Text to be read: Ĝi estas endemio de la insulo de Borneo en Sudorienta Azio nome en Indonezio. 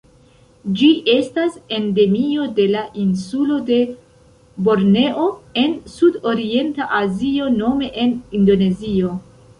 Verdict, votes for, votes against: accepted, 2, 0